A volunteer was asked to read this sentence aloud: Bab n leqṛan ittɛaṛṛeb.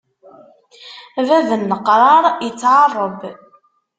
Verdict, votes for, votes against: rejected, 0, 2